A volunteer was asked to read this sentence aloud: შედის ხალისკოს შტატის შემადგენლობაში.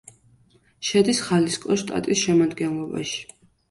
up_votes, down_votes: 2, 0